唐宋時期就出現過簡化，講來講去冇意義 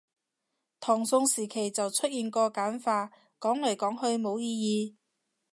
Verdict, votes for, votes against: accepted, 2, 0